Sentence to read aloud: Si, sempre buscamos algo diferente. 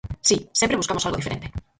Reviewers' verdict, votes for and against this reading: rejected, 0, 4